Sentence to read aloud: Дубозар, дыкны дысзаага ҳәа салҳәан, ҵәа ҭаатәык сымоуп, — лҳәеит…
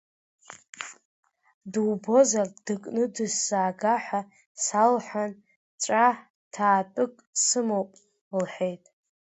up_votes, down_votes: 1, 2